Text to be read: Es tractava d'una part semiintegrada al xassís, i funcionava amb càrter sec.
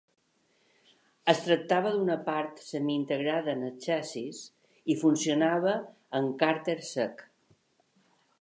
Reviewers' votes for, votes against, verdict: 2, 4, rejected